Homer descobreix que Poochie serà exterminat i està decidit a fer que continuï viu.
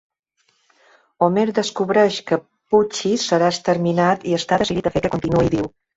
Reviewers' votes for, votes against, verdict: 0, 2, rejected